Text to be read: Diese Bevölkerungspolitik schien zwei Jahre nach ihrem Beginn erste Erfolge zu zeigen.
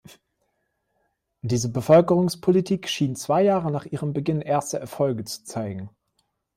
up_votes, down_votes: 2, 0